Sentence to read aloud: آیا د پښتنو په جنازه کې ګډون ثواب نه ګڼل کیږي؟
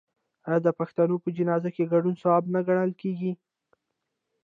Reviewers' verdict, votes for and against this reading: rejected, 1, 2